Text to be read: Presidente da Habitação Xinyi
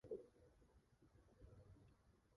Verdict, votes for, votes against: rejected, 0, 2